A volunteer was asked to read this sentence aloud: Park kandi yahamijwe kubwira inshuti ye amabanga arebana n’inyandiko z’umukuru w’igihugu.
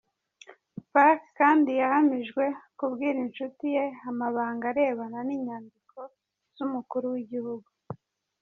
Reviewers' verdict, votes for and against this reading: rejected, 1, 2